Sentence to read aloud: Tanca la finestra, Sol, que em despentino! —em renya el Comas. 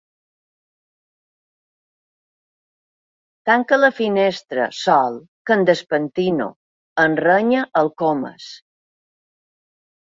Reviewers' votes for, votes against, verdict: 2, 0, accepted